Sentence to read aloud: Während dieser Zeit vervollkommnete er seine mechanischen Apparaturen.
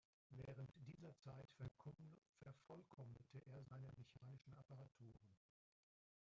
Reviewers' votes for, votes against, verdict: 0, 2, rejected